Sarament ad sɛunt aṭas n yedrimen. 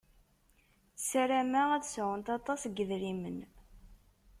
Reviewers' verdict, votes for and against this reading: rejected, 0, 2